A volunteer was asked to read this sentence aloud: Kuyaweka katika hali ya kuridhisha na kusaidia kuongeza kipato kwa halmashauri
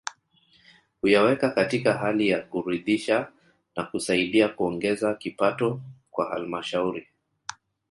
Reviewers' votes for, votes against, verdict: 1, 2, rejected